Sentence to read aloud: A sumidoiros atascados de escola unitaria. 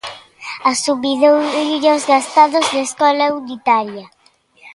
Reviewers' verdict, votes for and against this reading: rejected, 0, 2